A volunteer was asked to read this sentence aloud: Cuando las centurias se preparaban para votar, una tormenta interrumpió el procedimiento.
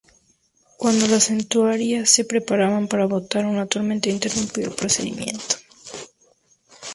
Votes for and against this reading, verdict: 0, 2, rejected